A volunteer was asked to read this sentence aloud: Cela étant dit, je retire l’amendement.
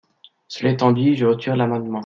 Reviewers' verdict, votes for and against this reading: accepted, 2, 0